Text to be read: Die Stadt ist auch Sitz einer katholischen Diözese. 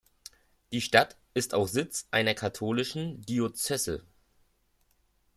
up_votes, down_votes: 1, 2